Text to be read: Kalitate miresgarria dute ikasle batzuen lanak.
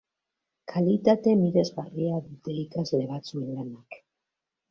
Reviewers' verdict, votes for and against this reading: accepted, 3, 2